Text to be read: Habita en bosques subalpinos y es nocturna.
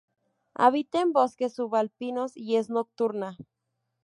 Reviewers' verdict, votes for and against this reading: rejected, 0, 2